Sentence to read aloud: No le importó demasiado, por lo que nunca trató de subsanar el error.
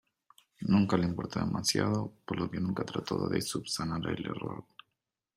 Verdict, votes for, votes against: rejected, 0, 2